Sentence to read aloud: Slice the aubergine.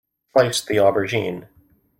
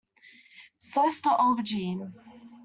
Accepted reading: second